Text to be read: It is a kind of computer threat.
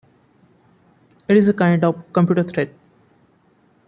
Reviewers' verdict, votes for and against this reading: accepted, 2, 1